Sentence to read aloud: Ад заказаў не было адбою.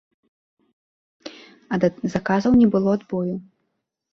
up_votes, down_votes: 1, 2